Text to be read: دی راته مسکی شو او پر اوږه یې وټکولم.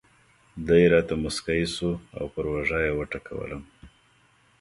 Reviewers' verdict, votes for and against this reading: accepted, 2, 0